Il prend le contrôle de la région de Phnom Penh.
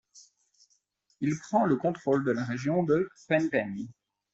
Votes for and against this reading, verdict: 0, 2, rejected